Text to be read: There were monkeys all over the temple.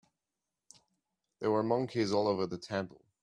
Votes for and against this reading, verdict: 2, 0, accepted